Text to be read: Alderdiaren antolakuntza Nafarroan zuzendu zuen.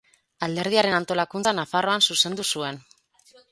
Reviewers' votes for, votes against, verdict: 4, 0, accepted